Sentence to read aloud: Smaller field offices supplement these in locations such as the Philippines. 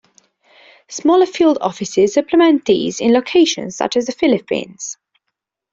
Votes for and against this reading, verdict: 2, 0, accepted